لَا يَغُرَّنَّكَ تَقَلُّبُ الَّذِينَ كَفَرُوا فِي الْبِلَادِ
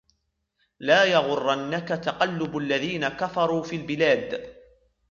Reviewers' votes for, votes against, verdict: 1, 2, rejected